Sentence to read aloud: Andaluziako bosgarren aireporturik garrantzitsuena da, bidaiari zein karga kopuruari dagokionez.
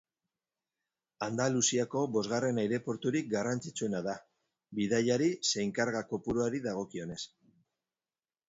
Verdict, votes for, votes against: rejected, 0, 2